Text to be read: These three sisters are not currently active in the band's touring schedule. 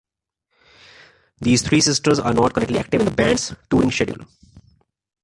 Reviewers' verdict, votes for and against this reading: accepted, 2, 1